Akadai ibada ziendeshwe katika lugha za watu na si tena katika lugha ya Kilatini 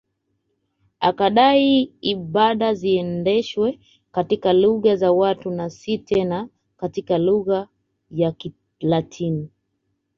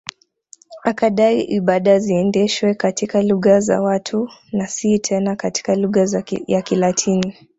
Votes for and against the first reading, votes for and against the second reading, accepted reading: 2, 0, 0, 2, first